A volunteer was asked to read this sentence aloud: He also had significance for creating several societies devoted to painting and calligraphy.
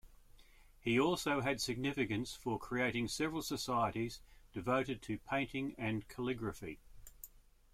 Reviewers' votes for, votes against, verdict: 2, 0, accepted